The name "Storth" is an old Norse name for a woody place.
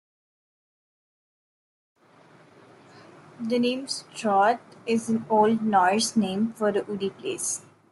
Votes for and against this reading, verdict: 1, 2, rejected